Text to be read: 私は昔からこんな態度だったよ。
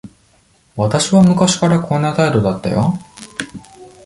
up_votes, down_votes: 1, 2